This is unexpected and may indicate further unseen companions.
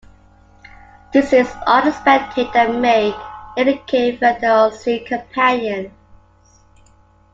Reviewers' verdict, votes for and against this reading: accepted, 2, 1